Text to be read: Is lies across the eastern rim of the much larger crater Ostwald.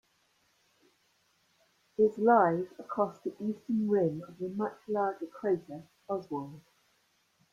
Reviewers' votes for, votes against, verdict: 1, 2, rejected